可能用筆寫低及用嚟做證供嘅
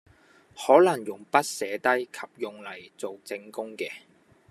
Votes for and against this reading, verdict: 2, 0, accepted